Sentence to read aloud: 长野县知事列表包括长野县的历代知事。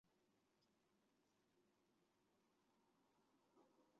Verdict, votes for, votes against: rejected, 0, 4